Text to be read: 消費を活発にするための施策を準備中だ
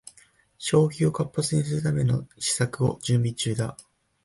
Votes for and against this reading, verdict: 0, 2, rejected